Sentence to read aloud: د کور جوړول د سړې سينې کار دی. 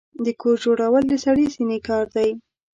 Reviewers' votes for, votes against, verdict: 2, 0, accepted